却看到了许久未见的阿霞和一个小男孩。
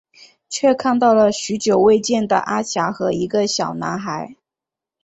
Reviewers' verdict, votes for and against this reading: accepted, 3, 0